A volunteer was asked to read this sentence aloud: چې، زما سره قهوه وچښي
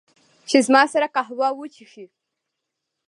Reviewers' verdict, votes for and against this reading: accepted, 2, 0